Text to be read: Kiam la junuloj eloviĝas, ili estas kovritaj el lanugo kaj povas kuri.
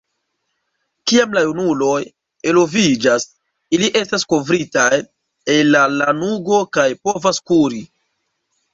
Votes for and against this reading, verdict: 1, 2, rejected